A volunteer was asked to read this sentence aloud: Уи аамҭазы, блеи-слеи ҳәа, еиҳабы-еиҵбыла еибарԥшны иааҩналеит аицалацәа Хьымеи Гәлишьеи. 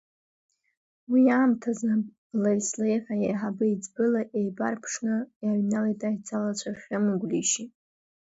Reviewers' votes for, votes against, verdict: 2, 1, accepted